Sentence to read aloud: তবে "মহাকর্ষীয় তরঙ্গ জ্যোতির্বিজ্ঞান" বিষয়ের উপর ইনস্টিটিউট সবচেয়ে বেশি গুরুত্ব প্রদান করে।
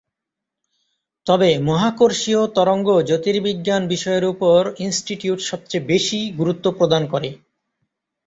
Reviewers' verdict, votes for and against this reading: accepted, 2, 0